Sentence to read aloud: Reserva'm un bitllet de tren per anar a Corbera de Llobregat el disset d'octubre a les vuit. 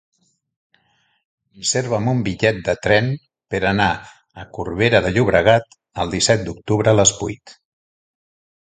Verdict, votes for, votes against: accepted, 4, 0